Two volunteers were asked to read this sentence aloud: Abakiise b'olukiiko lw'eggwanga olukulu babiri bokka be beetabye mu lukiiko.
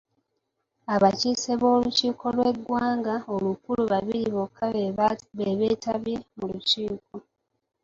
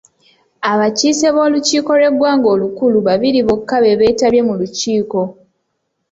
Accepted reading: second